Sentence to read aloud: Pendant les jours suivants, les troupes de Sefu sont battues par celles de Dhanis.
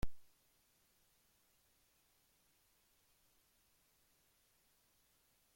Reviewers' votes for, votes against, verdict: 1, 2, rejected